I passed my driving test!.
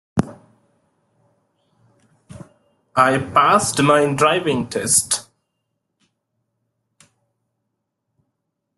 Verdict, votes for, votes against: accepted, 2, 0